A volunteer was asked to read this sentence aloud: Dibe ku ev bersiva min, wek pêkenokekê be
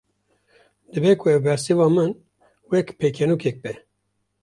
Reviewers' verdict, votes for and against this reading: accepted, 2, 0